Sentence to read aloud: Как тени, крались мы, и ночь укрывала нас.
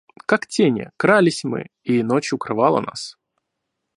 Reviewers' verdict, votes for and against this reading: accepted, 2, 0